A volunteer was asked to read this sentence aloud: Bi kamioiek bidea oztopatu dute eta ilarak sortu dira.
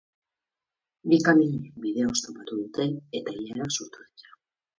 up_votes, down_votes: 0, 4